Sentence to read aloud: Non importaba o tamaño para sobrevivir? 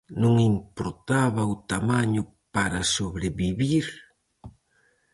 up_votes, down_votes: 4, 0